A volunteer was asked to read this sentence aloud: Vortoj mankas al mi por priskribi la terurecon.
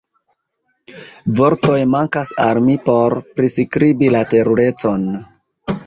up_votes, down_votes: 2, 1